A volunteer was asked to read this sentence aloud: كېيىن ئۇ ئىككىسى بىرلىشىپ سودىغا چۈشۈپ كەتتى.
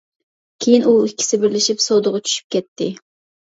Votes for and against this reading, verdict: 2, 0, accepted